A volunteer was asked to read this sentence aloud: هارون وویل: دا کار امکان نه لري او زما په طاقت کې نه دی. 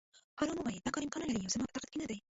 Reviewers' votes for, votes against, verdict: 0, 2, rejected